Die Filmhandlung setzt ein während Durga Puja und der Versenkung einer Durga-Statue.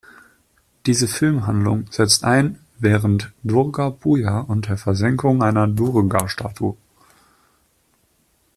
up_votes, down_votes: 0, 2